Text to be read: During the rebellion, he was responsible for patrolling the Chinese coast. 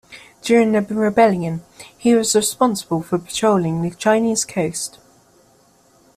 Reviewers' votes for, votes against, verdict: 2, 0, accepted